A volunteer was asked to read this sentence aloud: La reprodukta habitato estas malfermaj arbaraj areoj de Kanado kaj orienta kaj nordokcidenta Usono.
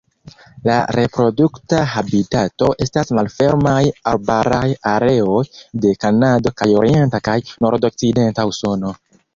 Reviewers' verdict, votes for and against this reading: rejected, 1, 2